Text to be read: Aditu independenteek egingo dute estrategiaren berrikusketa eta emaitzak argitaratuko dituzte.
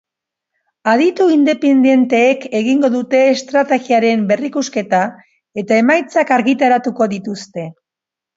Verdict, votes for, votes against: accepted, 2, 1